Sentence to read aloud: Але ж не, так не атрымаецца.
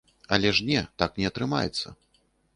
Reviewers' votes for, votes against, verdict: 3, 0, accepted